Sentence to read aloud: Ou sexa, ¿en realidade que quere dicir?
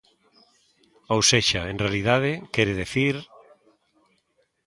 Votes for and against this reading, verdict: 0, 2, rejected